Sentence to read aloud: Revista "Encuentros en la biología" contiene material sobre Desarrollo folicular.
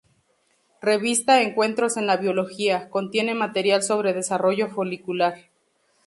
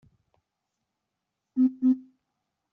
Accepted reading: first